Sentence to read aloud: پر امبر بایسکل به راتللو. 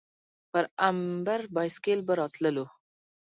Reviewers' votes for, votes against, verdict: 2, 0, accepted